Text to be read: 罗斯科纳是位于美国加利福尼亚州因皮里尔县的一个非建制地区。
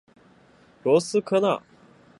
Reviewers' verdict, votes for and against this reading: rejected, 0, 3